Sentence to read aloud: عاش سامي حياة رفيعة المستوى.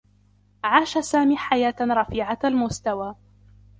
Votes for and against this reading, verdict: 2, 1, accepted